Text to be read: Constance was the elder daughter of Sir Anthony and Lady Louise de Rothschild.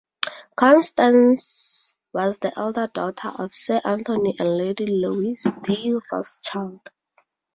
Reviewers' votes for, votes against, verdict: 4, 0, accepted